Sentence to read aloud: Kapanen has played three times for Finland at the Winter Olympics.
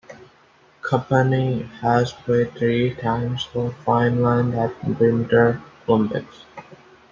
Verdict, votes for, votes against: accepted, 2, 0